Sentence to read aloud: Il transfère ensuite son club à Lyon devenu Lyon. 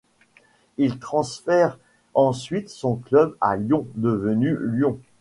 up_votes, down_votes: 2, 0